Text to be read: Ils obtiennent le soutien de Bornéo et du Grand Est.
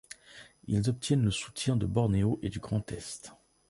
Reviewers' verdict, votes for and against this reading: accepted, 2, 0